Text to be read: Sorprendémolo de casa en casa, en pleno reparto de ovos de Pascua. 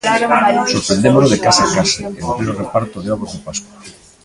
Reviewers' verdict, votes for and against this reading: rejected, 0, 2